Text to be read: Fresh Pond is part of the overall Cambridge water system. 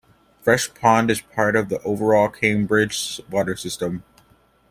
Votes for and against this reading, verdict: 2, 0, accepted